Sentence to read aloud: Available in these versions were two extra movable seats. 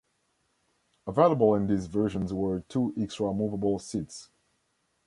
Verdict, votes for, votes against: accepted, 2, 1